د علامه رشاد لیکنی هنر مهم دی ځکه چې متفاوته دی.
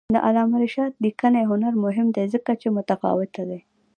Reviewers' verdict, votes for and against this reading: accepted, 2, 0